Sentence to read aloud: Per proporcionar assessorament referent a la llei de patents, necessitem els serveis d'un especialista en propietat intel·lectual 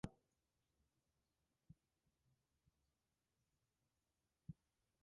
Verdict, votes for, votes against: rejected, 0, 2